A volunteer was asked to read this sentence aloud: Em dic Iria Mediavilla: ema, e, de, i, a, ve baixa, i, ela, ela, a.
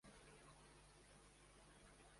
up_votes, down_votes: 0, 2